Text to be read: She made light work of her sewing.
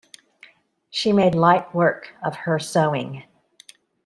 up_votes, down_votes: 2, 0